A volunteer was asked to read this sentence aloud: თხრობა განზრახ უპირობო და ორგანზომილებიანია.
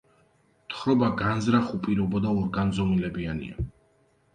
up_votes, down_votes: 2, 0